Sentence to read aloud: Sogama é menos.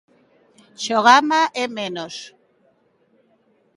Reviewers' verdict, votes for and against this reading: rejected, 1, 2